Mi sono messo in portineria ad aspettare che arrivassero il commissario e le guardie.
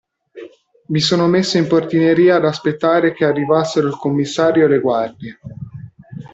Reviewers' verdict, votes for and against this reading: accepted, 2, 0